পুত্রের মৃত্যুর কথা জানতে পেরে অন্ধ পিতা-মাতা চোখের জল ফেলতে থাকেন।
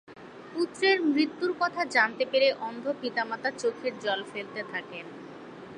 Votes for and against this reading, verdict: 9, 0, accepted